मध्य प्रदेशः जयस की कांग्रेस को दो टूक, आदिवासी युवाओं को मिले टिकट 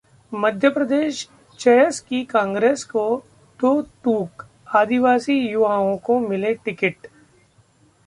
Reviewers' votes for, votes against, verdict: 0, 2, rejected